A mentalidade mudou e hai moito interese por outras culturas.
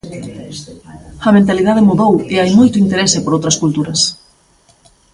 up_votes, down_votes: 2, 1